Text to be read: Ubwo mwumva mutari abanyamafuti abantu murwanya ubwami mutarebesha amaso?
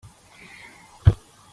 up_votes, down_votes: 0, 3